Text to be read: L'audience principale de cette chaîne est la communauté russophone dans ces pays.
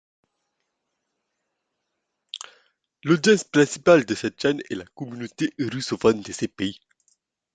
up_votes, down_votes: 0, 2